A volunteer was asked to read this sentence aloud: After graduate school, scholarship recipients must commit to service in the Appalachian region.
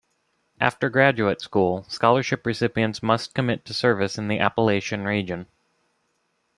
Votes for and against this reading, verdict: 2, 0, accepted